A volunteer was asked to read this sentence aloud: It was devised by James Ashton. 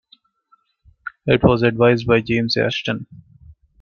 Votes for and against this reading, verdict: 0, 2, rejected